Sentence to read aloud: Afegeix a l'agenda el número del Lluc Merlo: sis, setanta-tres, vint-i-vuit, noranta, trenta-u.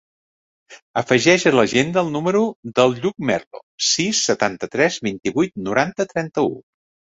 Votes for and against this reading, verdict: 4, 0, accepted